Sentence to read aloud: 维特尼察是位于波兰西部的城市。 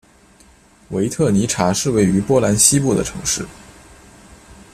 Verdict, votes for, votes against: accepted, 3, 0